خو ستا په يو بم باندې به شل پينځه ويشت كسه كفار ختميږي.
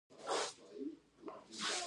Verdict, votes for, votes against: rejected, 1, 2